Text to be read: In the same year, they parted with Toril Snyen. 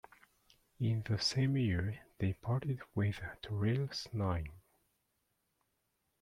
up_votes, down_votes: 2, 0